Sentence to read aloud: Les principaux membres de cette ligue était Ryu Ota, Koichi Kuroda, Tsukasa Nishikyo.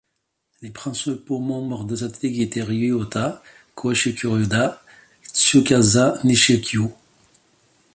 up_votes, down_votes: 1, 2